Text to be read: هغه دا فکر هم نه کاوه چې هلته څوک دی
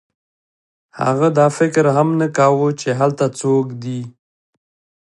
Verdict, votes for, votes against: accepted, 2, 0